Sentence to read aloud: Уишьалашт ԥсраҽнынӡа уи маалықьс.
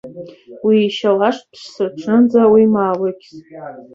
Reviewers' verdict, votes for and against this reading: rejected, 0, 2